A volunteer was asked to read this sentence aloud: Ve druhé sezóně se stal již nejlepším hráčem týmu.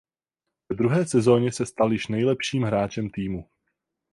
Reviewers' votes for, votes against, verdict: 4, 4, rejected